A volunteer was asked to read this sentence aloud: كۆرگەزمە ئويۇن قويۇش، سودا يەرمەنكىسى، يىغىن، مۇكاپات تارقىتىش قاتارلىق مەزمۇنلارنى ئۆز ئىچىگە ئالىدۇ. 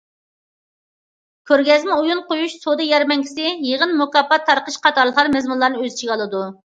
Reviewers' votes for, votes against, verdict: 1, 2, rejected